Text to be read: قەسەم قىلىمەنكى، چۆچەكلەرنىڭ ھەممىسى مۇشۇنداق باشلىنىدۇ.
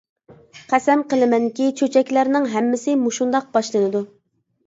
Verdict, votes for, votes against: accepted, 2, 0